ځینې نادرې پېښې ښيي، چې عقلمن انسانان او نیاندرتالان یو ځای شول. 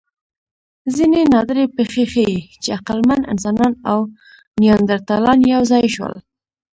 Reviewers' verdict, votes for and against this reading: rejected, 0, 2